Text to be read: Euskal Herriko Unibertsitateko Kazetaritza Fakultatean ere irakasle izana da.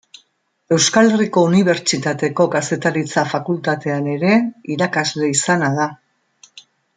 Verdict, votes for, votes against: accepted, 2, 0